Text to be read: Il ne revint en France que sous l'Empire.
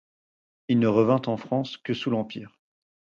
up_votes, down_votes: 4, 0